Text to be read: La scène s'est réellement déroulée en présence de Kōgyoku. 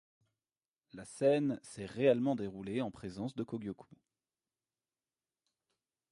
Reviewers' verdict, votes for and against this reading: accepted, 2, 0